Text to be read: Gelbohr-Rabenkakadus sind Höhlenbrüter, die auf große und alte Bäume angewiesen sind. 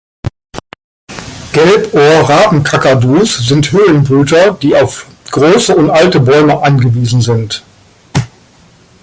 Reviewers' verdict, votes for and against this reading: accepted, 2, 0